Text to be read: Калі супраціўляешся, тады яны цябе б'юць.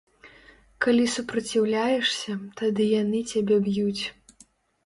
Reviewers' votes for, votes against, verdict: 2, 0, accepted